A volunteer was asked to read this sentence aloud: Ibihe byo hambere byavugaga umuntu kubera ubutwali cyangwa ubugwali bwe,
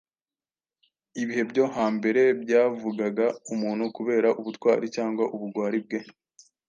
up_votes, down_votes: 2, 0